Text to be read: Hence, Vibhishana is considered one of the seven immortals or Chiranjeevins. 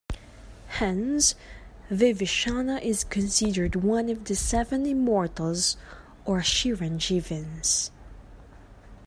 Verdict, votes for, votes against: accepted, 2, 1